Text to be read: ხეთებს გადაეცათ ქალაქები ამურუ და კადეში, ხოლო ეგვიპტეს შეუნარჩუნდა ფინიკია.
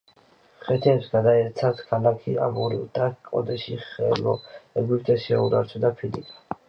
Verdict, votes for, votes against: rejected, 0, 2